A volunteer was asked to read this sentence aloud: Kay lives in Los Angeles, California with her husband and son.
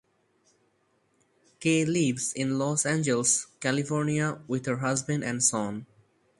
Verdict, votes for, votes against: accepted, 4, 0